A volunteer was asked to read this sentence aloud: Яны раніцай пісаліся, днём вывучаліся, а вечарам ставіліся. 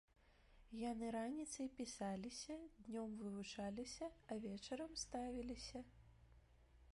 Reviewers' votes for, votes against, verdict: 1, 2, rejected